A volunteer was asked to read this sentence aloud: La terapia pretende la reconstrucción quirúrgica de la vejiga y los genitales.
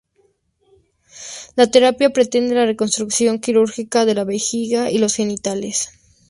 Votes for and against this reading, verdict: 4, 2, accepted